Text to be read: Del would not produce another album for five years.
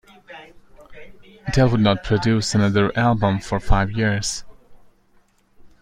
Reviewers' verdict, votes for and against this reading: rejected, 0, 2